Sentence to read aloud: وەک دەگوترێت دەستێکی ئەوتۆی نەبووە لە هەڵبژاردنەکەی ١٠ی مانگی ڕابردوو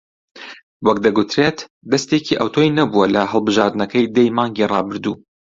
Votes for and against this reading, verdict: 0, 2, rejected